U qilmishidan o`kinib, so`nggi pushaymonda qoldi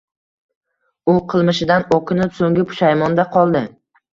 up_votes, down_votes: 2, 0